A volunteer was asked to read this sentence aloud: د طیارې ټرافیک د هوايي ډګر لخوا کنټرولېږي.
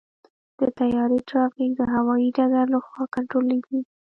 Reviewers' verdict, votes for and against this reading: rejected, 1, 2